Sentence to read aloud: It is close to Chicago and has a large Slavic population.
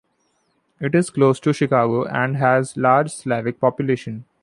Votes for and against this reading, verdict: 0, 2, rejected